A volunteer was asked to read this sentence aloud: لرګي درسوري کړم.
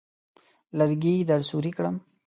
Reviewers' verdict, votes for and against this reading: accepted, 2, 0